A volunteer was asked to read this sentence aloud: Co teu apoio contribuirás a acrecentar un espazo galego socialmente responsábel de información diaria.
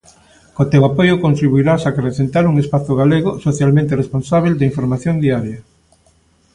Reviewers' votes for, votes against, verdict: 3, 0, accepted